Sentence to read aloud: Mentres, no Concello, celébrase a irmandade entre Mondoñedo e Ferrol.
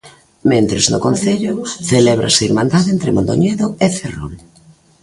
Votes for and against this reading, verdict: 0, 2, rejected